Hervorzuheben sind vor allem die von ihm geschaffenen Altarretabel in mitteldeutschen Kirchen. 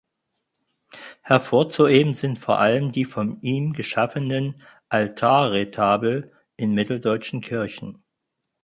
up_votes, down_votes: 4, 0